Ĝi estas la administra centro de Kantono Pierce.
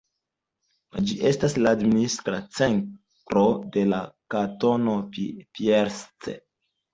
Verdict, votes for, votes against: accepted, 2, 1